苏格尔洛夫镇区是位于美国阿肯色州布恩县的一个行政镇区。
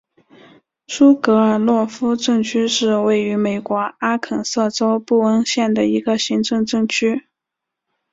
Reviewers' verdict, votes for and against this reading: accepted, 3, 0